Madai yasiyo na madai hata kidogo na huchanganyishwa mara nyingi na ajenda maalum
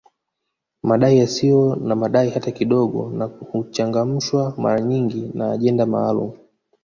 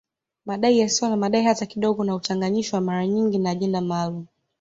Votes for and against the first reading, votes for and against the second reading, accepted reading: 0, 2, 2, 0, second